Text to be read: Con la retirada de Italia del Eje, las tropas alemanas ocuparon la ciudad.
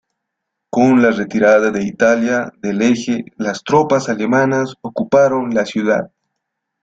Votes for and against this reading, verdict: 1, 2, rejected